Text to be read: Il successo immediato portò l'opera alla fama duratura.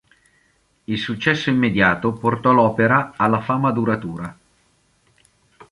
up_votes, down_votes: 2, 0